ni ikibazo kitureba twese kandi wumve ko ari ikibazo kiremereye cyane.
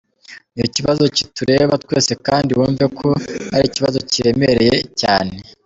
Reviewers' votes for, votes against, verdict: 2, 0, accepted